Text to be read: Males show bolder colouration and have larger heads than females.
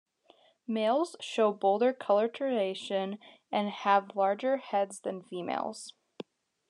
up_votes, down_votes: 1, 2